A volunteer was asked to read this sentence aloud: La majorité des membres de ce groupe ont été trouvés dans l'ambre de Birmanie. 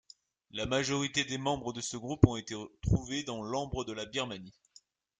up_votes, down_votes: 2, 1